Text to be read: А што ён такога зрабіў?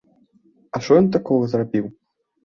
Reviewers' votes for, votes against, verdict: 1, 2, rejected